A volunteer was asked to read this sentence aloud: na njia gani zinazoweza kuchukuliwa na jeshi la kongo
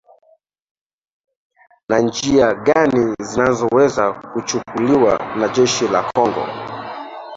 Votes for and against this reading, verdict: 0, 2, rejected